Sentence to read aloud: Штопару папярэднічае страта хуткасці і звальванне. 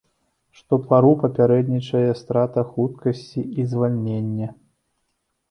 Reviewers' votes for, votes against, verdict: 0, 2, rejected